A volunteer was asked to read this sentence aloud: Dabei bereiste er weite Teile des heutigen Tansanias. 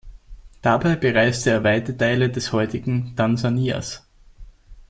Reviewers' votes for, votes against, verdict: 2, 0, accepted